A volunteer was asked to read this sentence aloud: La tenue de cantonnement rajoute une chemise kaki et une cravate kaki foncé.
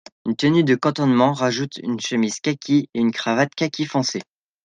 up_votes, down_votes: 0, 2